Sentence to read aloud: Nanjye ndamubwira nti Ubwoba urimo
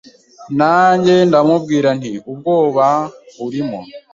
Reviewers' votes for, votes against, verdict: 2, 0, accepted